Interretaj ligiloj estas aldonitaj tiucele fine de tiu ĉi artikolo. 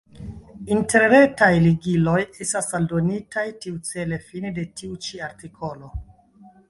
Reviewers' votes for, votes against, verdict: 1, 2, rejected